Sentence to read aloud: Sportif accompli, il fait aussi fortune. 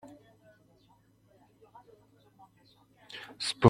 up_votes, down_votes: 0, 2